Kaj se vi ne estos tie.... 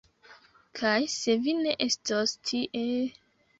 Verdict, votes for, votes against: accepted, 2, 0